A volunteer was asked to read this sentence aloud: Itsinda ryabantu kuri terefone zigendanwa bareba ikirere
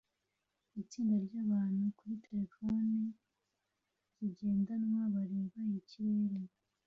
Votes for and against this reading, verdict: 2, 0, accepted